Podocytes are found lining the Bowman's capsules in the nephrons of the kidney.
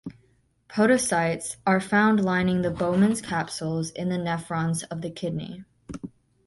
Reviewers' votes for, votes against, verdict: 2, 0, accepted